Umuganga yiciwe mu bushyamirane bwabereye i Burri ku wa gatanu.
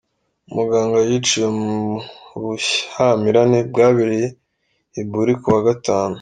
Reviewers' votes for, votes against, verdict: 1, 2, rejected